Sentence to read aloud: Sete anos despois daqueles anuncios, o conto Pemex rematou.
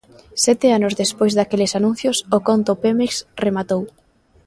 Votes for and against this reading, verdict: 2, 0, accepted